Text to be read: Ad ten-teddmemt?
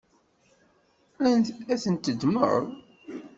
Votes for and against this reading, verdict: 1, 2, rejected